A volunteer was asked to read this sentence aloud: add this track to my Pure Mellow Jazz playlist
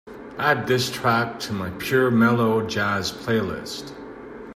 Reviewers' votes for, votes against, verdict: 2, 0, accepted